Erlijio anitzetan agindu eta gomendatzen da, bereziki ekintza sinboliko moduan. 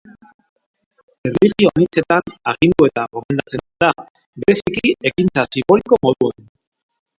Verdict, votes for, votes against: rejected, 0, 2